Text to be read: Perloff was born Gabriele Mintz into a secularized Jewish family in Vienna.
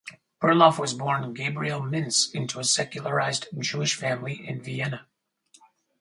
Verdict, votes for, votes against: rejected, 2, 2